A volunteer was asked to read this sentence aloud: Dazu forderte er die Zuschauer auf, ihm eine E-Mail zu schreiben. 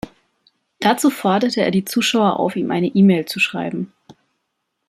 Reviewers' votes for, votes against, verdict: 2, 0, accepted